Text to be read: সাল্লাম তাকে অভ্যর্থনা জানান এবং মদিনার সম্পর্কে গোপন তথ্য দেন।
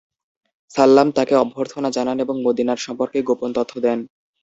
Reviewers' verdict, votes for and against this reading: accepted, 2, 0